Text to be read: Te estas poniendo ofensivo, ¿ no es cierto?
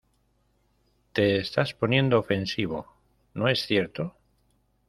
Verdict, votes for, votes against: accepted, 2, 0